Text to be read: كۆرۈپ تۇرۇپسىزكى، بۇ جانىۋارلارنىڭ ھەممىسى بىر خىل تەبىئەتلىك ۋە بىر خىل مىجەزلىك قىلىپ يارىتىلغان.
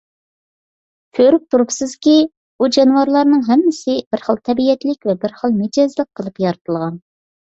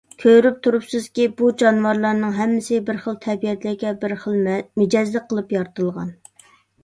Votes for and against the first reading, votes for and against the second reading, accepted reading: 2, 0, 0, 2, first